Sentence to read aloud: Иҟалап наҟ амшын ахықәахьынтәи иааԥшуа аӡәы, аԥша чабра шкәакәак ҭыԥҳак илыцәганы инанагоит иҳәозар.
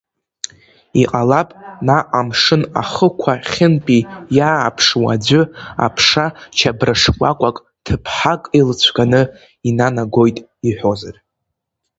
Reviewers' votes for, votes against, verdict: 1, 2, rejected